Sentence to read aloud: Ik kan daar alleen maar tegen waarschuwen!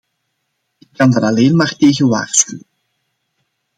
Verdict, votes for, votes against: accepted, 2, 0